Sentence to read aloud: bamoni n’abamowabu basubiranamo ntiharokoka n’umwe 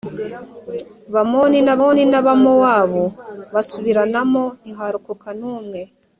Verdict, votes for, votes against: rejected, 0, 2